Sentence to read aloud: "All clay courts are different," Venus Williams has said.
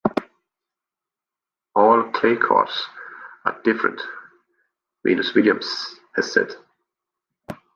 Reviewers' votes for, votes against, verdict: 2, 0, accepted